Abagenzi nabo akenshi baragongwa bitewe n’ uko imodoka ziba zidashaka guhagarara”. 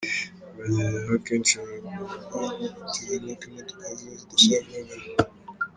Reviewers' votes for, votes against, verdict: 0, 2, rejected